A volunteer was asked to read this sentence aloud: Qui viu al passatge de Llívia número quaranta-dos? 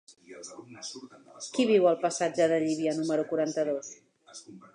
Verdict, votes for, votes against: rejected, 0, 2